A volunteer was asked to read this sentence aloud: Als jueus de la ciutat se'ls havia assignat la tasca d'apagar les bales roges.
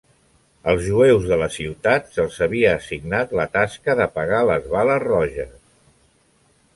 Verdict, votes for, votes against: accepted, 2, 0